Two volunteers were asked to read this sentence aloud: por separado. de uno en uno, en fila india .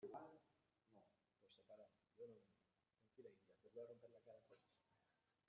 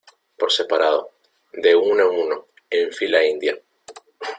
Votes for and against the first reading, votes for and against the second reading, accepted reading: 0, 2, 2, 1, second